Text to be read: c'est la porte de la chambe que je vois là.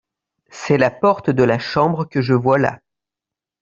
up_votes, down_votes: 2, 1